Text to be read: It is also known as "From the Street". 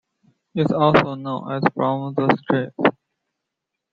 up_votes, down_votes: 0, 2